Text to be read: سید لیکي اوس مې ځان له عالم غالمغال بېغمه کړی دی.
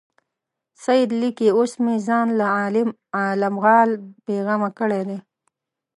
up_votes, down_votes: 1, 2